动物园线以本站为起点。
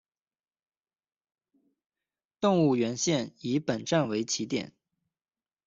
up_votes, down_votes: 2, 0